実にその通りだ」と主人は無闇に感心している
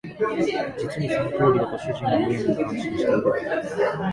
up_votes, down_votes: 0, 2